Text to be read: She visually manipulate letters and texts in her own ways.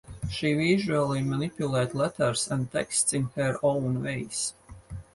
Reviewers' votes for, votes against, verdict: 2, 2, rejected